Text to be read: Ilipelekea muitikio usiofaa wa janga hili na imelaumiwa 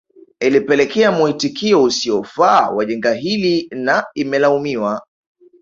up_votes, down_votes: 3, 0